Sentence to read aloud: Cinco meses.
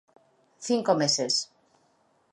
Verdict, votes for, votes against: accepted, 2, 0